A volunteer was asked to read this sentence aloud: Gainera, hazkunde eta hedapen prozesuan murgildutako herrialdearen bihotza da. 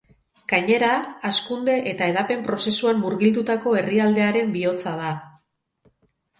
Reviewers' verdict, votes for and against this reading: rejected, 2, 2